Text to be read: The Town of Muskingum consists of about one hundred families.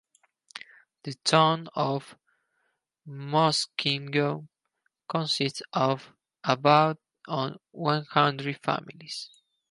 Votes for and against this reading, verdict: 2, 4, rejected